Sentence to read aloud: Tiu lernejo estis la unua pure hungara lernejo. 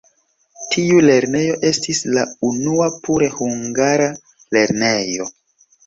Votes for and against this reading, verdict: 2, 0, accepted